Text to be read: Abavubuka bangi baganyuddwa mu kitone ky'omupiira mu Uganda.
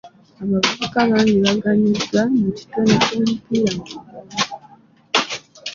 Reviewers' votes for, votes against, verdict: 0, 2, rejected